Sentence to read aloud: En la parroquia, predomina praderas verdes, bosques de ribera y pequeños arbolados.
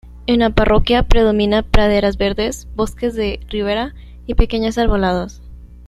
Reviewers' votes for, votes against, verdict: 1, 2, rejected